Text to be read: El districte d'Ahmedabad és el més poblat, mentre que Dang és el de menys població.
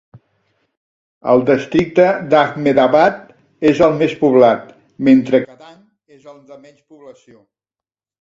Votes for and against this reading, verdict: 1, 2, rejected